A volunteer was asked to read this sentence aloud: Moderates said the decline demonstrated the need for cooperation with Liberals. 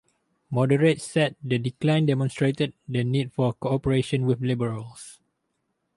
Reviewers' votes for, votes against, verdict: 2, 0, accepted